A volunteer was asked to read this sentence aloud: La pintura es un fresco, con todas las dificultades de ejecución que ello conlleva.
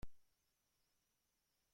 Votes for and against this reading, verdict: 0, 2, rejected